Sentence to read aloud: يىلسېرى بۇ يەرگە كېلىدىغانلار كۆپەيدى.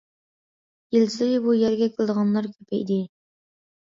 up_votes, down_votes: 2, 0